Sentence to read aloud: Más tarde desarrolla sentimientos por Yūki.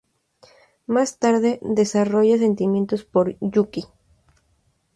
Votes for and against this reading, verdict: 0, 2, rejected